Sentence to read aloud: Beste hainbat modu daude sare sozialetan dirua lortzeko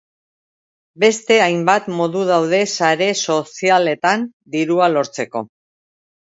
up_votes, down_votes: 2, 0